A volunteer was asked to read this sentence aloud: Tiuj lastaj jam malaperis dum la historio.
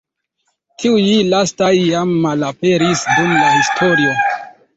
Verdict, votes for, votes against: accepted, 2, 1